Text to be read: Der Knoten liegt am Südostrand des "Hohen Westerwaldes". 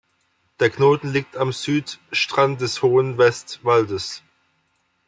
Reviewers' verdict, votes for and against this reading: rejected, 0, 2